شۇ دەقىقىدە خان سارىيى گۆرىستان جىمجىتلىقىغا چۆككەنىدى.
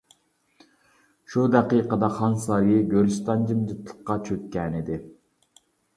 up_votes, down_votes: 0, 2